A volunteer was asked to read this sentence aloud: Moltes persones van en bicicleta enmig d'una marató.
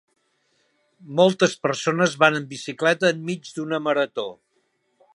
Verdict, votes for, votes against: accepted, 4, 0